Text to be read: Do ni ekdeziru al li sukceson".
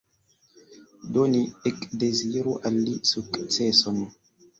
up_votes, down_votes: 2, 0